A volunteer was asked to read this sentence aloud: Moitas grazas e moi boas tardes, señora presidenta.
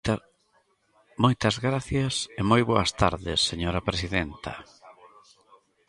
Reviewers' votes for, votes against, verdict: 0, 2, rejected